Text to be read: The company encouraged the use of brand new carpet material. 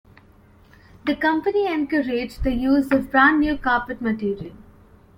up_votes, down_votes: 2, 0